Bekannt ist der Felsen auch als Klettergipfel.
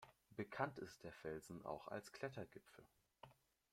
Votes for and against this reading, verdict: 2, 0, accepted